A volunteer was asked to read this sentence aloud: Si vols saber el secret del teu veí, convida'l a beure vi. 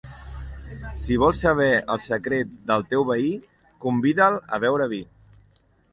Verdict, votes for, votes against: accepted, 2, 0